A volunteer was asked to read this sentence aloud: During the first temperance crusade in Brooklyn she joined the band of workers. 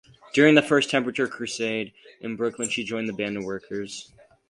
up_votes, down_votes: 0, 2